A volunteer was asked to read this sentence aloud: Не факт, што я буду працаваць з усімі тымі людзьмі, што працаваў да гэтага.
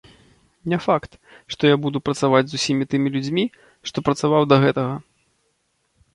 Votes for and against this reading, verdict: 2, 0, accepted